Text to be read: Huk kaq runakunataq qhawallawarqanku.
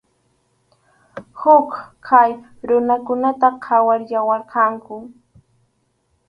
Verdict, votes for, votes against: rejected, 0, 4